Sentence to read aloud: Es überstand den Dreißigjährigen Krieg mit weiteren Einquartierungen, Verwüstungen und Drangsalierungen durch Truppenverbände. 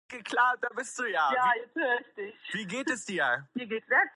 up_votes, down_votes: 0, 2